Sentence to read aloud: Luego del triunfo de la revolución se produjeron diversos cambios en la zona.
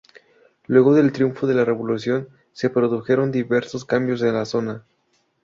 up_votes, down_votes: 2, 0